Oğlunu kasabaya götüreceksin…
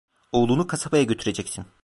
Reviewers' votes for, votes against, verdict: 2, 0, accepted